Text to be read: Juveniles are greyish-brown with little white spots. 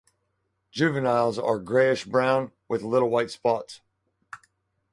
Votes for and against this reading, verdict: 0, 2, rejected